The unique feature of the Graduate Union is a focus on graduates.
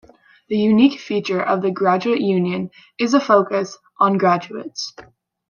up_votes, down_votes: 2, 0